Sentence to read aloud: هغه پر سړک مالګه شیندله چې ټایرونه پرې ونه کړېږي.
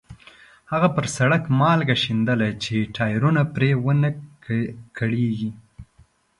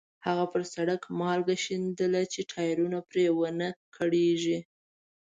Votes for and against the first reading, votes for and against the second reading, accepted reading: 1, 2, 2, 0, second